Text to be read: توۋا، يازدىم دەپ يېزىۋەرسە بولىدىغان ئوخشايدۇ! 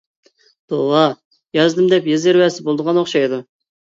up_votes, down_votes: 0, 2